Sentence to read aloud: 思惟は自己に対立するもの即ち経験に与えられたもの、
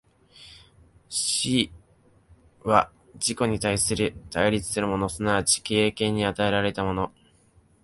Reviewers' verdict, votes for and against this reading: rejected, 0, 2